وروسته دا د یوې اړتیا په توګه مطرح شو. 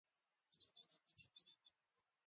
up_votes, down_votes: 1, 2